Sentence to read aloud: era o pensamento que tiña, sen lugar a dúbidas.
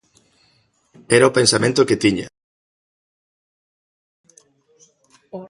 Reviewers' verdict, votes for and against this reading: rejected, 0, 2